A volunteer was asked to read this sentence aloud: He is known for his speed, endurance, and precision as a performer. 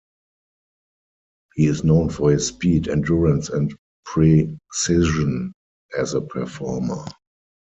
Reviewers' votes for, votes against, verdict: 0, 4, rejected